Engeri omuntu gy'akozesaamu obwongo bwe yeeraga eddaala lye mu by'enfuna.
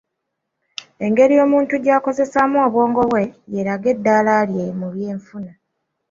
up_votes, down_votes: 2, 0